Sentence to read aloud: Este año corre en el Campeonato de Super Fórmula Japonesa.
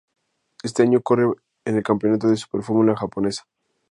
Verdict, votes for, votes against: accepted, 2, 0